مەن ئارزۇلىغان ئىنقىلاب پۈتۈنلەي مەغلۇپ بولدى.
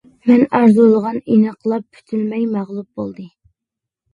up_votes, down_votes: 0, 2